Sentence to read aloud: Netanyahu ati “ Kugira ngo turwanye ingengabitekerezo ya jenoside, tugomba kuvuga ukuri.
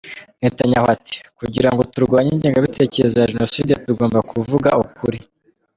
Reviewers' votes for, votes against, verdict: 1, 2, rejected